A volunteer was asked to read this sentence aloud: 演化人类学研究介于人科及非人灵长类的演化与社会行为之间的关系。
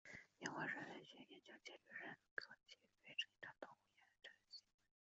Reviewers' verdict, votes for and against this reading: rejected, 0, 2